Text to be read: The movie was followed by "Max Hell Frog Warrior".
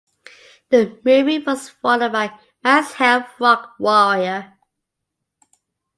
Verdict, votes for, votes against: rejected, 0, 2